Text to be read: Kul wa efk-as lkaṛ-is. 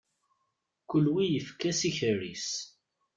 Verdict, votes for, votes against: rejected, 1, 2